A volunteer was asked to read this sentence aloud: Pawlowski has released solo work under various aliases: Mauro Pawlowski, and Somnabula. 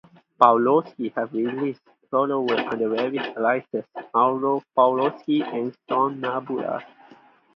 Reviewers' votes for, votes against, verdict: 2, 2, rejected